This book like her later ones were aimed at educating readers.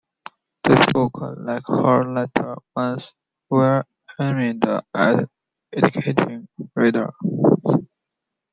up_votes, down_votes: 0, 2